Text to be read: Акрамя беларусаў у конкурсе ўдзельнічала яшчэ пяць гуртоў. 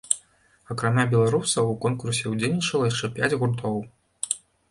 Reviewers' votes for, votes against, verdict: 2, 0, accepted